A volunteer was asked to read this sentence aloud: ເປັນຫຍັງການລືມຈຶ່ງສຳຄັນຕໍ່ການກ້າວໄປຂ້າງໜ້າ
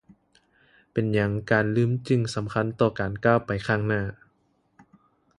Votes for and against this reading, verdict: 2, 0, accepted